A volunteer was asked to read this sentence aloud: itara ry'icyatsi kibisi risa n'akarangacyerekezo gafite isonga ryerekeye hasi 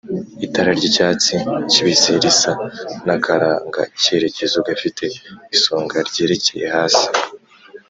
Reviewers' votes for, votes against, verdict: 2, 0, accepted